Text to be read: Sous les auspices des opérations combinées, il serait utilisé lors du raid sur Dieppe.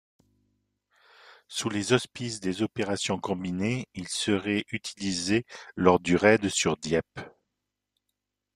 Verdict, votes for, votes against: rejected, 0, 2